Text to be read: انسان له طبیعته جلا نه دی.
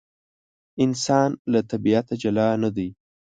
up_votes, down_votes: 2, 0